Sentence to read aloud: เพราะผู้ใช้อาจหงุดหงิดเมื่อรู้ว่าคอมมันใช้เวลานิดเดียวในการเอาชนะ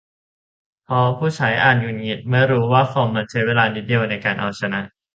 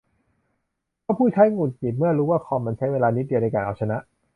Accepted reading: first